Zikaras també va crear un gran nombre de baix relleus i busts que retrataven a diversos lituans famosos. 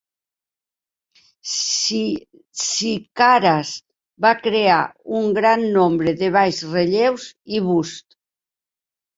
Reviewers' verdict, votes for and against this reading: rejected, 0, 3